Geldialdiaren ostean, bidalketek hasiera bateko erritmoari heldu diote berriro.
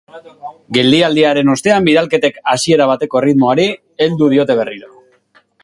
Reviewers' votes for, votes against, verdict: 4, 1, accepted